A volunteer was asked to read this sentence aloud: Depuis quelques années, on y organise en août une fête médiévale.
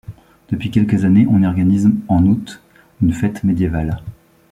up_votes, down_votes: 1, 2